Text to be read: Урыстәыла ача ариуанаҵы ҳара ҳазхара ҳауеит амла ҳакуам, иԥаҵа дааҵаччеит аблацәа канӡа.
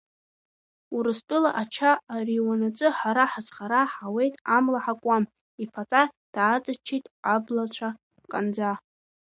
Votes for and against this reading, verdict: 1, 2, rejected